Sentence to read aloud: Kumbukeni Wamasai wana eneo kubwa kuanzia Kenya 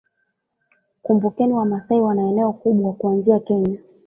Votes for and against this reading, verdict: 2, 0, accepted